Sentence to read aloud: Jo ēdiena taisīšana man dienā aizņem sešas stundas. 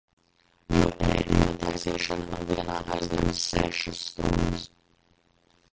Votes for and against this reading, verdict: 0, 2, rejected